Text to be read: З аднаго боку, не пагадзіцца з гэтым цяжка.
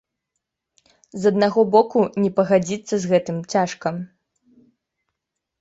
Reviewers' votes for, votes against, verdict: 2, 0, accepted